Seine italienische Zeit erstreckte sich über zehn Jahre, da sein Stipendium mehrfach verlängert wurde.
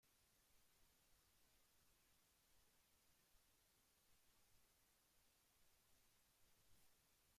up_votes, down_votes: 0, 2